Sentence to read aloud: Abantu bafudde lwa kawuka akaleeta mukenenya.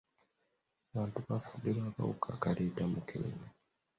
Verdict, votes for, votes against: accepted, 2, 0